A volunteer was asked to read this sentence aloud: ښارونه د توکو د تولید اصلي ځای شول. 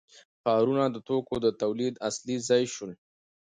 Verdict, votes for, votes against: accepted, 2, 0